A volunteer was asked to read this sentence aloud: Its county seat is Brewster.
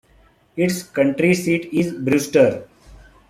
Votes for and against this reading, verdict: 0, 2, rejected